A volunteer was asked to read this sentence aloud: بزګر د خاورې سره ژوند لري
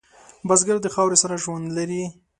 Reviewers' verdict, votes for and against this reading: accepted, 4, 0